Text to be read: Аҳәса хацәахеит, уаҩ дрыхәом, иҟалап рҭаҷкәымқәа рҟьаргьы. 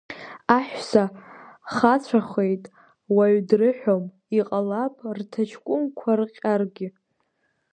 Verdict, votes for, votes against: rejected, 1, 2